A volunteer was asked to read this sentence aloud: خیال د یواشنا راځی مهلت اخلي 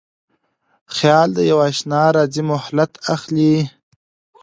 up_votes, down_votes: 2, 0